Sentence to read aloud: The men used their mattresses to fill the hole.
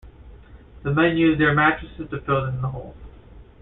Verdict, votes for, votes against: accepted, 2, 0